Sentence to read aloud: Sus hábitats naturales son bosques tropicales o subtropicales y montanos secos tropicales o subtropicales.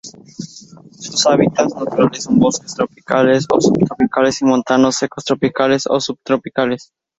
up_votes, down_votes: 0, 2